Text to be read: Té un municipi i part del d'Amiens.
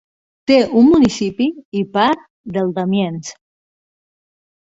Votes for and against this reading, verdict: 3, 0, accepted